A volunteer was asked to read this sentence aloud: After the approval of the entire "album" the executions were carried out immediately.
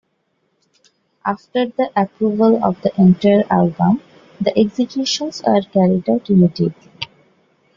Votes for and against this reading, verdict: 1, 2, rejected